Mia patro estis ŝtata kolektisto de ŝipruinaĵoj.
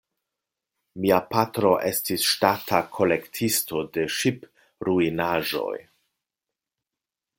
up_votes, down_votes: 2, 0